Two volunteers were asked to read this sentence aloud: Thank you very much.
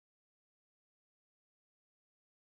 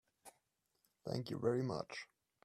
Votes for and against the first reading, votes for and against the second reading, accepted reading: 0, 2, 3, 0, second